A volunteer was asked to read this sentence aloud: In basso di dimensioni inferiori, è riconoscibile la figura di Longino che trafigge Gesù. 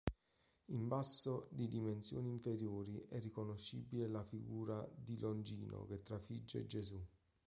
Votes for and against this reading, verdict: 2, 0, accepted